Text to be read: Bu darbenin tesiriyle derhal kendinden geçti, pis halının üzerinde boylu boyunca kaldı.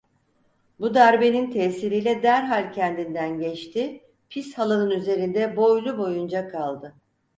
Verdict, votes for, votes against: accepted, 6, 0